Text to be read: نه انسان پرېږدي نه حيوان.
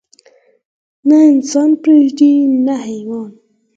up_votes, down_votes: 0, 4